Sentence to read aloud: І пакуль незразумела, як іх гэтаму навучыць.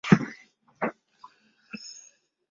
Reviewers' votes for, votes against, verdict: 0, 2, rejected